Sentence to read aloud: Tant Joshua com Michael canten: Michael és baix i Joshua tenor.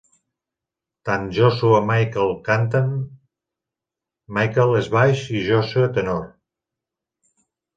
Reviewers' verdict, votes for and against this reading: rejected, 0, 2